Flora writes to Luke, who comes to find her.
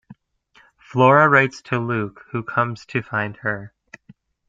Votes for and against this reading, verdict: 2, 0, accepted